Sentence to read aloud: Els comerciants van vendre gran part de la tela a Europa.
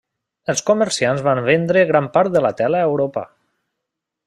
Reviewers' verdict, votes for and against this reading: accepted, 3, 0